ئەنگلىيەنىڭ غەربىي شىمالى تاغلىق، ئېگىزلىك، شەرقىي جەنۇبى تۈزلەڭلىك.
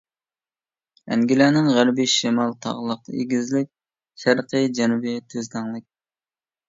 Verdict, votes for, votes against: rejected, 1, 2